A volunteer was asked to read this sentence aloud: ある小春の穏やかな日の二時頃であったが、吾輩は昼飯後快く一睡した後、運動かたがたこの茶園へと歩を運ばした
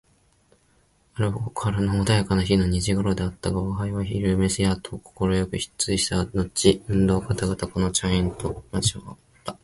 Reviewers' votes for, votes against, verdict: 1, 2, rejected